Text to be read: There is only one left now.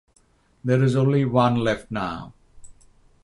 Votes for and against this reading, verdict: 6, 3, accepted